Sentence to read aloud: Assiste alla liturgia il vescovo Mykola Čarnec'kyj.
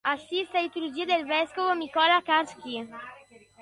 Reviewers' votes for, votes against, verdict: 0, 2, rejected